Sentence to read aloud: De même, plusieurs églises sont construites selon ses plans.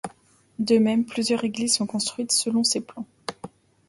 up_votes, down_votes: 2, 0